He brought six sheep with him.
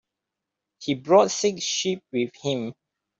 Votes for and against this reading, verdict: 2, 1, accepted